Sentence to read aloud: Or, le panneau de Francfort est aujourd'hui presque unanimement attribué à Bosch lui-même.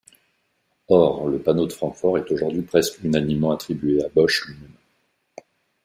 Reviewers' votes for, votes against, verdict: 0, 2, rejected